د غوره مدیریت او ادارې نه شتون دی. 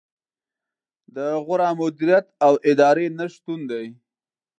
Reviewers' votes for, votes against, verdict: 2, 0, accepted